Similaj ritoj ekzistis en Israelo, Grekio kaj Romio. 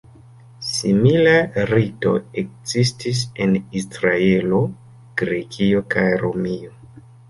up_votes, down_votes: 1, 3